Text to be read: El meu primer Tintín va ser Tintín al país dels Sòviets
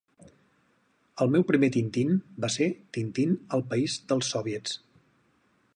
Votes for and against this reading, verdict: 2, 0, accepted